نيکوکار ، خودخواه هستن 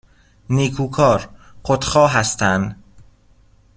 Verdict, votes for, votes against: accepted, 2, 0